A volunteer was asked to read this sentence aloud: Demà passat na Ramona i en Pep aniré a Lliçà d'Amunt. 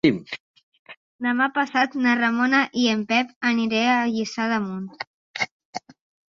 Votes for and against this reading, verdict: 2, 1, accepted